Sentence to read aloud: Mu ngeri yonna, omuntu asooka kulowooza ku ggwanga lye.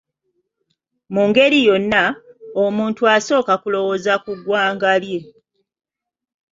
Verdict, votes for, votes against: accepted, 2, 0